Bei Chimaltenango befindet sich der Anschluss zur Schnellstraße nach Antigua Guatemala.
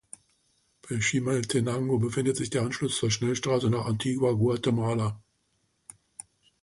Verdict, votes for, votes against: accepted, 2, 0